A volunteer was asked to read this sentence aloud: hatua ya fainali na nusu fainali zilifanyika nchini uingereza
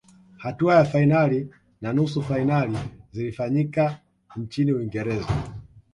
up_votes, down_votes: 2, 1